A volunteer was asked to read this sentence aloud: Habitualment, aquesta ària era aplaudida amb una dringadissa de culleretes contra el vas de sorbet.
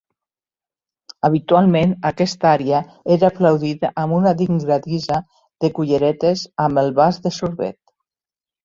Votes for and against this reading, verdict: 0, 2, rejected